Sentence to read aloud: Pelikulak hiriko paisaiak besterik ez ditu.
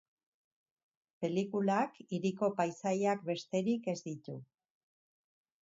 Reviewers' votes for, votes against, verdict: 4, 0, accepted